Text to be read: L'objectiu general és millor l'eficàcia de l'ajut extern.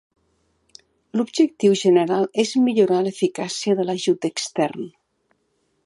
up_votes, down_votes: 0, 2